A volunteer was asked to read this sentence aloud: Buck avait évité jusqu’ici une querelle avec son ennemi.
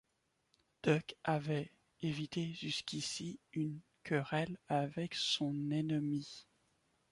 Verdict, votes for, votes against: accepted, 2, 1